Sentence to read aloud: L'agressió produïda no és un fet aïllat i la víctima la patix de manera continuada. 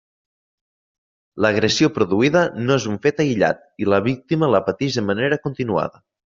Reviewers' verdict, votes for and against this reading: accepted, 3, 0